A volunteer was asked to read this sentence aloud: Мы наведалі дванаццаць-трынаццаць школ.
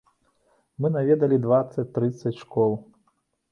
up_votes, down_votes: 0, 2